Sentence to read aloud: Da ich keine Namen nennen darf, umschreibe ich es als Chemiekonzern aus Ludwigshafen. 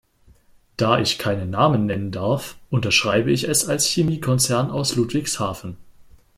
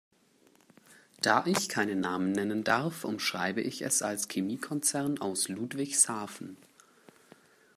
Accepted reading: second